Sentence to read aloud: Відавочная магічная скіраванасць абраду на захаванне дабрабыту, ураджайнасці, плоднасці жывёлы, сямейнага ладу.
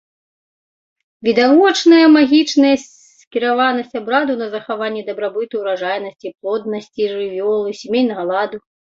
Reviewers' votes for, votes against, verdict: 1, 2, rejected